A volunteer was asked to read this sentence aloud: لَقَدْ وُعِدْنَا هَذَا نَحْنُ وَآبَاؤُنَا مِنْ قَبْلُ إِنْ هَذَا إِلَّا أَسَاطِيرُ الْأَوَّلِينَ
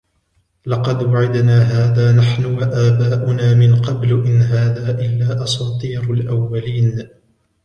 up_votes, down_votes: 2, 0